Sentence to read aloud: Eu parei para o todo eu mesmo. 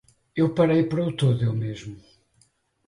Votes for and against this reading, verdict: 2, 4, rejected